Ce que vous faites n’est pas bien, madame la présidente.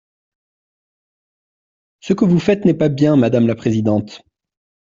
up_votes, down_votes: 2, 0